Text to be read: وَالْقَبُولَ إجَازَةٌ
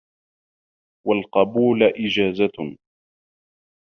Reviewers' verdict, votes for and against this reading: rejected, 1, 2